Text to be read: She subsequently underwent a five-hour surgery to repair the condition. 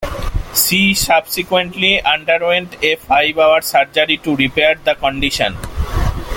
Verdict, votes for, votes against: accepted, 2, 0